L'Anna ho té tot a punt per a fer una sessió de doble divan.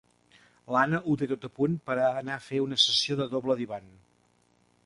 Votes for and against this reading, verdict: 1, 3, rejected